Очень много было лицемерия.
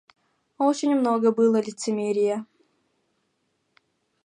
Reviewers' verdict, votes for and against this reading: rejected, 0, 2